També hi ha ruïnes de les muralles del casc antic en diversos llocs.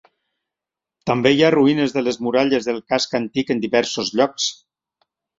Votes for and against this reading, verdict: 3, 0, accepted